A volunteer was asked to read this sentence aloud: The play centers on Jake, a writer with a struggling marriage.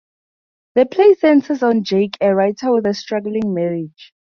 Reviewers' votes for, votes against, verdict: 2, 0, accepted